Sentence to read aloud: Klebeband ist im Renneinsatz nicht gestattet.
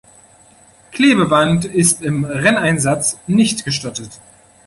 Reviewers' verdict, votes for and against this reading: accepted, 2, 0